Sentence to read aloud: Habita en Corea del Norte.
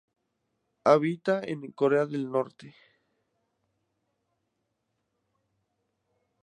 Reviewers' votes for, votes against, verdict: 0, 2, rejected